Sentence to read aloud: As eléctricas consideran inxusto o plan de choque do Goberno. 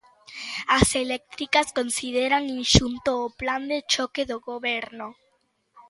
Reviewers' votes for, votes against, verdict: 0, 2, rejected